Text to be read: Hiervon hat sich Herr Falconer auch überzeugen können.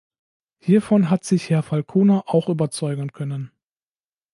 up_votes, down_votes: 3, 0